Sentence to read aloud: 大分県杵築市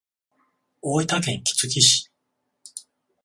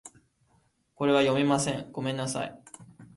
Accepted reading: first